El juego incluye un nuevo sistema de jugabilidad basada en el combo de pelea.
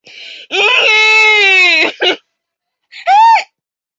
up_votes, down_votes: 0, 2